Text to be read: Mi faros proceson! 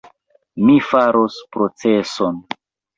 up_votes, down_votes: 2, 0